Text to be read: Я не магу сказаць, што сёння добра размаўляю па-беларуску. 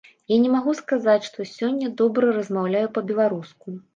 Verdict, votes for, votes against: accepted, 2, 0